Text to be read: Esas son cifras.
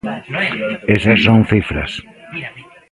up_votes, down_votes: 0, 2